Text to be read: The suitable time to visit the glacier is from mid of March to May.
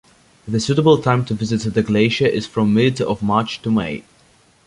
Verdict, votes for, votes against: accepted, 2, 0